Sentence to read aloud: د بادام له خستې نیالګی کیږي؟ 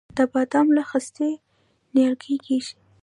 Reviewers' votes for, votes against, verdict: 1, 2, rejected